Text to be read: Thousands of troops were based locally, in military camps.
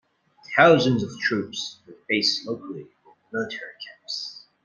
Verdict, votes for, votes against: rejected, 0, 2